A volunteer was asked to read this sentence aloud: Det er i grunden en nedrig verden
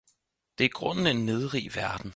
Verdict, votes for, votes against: accepted, 4, 0